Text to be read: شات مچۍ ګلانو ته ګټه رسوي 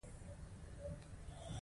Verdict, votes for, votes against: accepted, 2, 1